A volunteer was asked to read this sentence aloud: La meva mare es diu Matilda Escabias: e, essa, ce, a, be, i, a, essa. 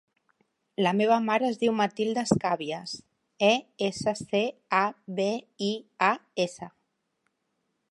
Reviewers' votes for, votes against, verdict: 2, 0, accepted